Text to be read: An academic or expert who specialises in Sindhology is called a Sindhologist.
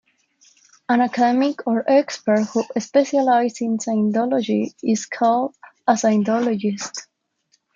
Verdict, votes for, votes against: rejected, 0, 2